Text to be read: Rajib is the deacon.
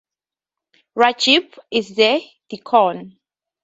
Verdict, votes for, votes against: accepted, 4, 0